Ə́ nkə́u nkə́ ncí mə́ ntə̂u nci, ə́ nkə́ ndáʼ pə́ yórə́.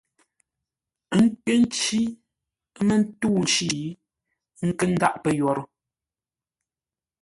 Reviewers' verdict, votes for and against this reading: rejected, 1, 2